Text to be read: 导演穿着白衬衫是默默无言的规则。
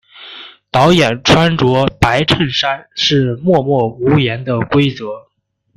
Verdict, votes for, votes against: rejected, 1, 2